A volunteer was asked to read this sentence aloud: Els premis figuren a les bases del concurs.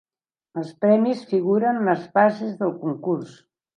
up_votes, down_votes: 2, 0